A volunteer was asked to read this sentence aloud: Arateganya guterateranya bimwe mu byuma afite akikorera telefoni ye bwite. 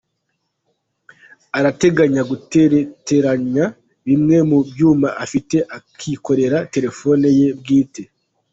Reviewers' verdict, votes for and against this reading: rejected, 0, 2